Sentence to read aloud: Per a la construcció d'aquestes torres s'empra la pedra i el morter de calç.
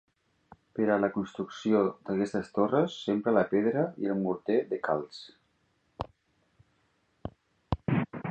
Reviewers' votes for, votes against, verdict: 3, 0, accepted